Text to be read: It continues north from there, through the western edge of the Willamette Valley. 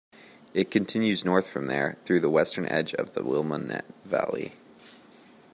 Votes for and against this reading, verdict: 1, 2, rejected